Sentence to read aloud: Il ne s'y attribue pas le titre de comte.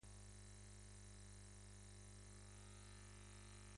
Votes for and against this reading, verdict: 0, 2, rejected